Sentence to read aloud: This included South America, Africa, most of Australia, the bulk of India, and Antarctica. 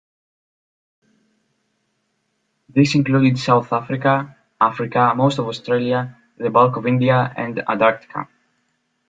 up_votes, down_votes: 0, 2